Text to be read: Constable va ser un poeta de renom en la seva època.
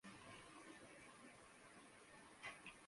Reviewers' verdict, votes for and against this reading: rejected, 0, 2